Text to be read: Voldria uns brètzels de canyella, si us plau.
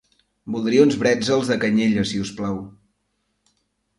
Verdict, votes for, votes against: accepted, 2, 0